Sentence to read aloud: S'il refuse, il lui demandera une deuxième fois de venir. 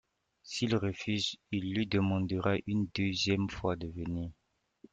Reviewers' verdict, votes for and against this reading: accepted, 2, 0